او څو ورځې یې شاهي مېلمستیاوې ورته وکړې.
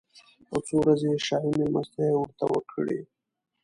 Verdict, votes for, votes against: accepted, 2, 0